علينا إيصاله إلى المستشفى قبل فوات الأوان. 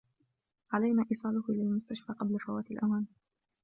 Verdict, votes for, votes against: accepted, 2, 0